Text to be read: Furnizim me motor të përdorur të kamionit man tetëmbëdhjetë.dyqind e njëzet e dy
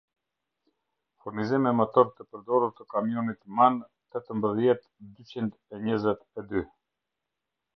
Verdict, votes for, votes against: rejected, 0, 2